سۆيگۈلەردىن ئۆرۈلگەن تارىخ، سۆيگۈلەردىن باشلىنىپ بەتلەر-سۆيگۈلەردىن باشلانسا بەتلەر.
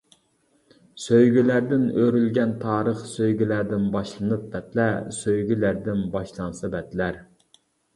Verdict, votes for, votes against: rejected, 0, 2